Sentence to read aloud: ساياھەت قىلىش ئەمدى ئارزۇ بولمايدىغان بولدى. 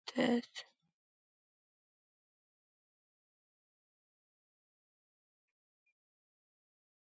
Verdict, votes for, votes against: rejected, 0, 2